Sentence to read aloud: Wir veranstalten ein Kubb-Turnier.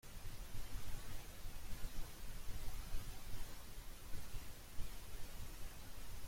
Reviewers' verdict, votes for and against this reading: rejected, 0, 2